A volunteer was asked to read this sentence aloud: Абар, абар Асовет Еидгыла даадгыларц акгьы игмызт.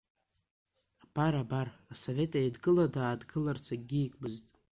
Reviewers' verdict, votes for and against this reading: accepted, 2, 0